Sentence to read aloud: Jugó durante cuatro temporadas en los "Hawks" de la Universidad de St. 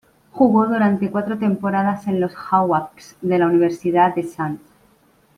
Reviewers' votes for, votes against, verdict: 1, 2, rejected